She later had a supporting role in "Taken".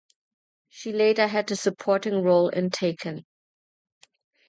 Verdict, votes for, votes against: rejected, 0, 2